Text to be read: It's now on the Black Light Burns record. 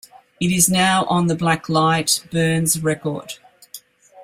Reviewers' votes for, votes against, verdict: 1, 2, rejected